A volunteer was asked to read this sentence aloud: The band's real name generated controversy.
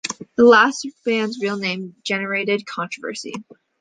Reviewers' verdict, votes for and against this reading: rejected, 0, 2